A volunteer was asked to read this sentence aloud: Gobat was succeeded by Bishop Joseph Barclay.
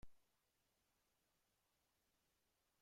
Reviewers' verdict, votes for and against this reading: rejected, 0, 2